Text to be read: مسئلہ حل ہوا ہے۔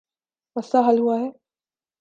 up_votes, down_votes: 3, 1